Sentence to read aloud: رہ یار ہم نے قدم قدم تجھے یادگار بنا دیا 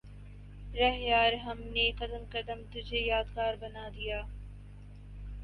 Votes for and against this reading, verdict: 2, 0, accepted